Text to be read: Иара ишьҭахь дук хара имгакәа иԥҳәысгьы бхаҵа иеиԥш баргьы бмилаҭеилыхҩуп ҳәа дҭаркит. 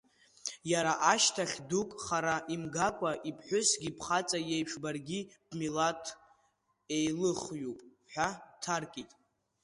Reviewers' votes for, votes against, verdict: 2, 1, accepted